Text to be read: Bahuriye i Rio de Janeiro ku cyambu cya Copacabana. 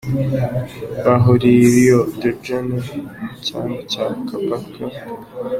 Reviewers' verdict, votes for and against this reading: rejected, 1, 3